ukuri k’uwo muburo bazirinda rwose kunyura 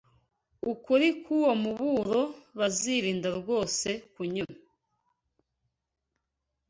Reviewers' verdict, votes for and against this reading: accepted, 2, 0